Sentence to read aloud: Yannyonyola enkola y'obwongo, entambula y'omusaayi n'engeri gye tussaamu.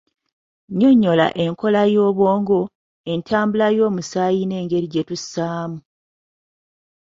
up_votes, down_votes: 0, 2